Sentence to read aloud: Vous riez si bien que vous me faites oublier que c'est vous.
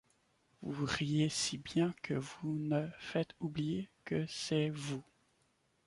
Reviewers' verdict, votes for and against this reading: accepted, 2, 0